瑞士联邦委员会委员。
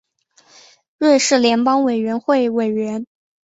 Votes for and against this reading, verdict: 2, 0, accepted